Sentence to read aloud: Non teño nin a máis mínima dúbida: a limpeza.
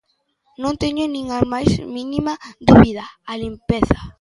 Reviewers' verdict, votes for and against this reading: accepted, 2, 0